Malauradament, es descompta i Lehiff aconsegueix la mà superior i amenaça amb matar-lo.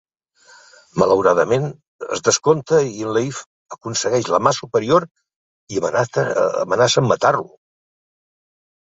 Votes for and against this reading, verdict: 0, 2, rejected